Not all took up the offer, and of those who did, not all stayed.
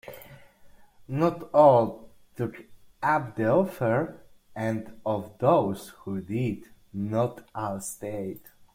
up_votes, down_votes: 1, 2